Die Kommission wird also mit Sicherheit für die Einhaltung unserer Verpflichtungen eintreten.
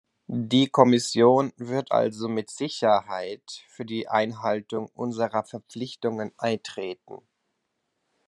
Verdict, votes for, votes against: accepted, 2, 0